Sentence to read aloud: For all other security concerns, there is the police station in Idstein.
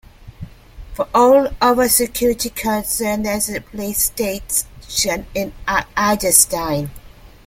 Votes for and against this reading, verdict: 0, 2, rejected